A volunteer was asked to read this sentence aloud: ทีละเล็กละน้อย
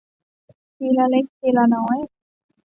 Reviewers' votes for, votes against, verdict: 1, 2, rejected